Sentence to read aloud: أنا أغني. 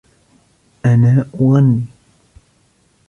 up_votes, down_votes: 1, 2